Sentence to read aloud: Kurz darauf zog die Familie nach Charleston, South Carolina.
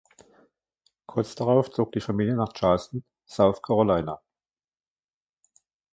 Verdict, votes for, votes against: rejected, 1, 2